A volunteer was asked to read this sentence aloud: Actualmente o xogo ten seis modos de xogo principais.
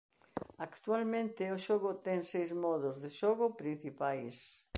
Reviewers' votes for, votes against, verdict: 2, 0, accepted